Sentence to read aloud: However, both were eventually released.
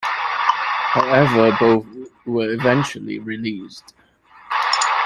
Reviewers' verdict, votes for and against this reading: rejected, 0, 2